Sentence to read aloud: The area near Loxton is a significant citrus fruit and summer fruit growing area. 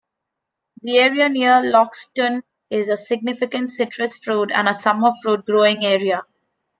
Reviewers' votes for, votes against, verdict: 0, 2, rejected